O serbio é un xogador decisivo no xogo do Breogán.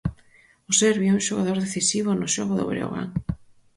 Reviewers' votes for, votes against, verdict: 4, 0, accepted